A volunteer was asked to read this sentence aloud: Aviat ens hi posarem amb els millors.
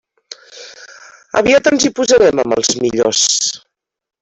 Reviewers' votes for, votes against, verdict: 2, 0, accepted